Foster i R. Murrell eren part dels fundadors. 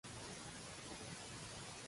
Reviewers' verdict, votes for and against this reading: rejected, 0, 2